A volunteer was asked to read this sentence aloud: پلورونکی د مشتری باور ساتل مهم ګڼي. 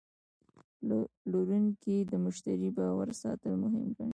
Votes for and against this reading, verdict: 2, 1, accepted